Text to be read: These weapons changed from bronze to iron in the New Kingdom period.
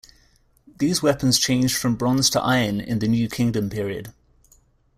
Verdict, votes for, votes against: accepted, 2, 0